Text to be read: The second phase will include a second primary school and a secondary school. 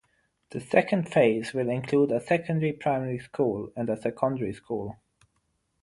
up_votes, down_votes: 0, 3